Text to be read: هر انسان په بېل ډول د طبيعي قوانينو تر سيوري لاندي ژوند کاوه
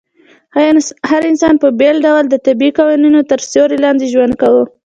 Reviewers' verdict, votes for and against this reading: accepted, 2, 0